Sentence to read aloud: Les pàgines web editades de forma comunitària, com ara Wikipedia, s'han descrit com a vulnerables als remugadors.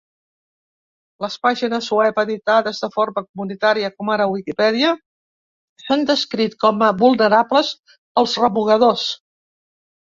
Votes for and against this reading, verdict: 3, 0, accepted